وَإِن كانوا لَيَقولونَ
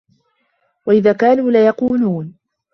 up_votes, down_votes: 0, 2